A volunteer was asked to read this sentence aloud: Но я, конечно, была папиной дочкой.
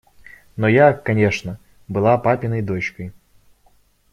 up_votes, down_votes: 0, 2